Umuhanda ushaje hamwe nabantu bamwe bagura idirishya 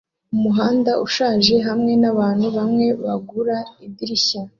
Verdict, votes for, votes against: accepted, 2, 0